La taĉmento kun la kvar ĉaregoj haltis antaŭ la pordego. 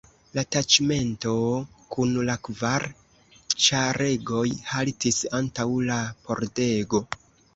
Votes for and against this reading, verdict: 2, 0, accepted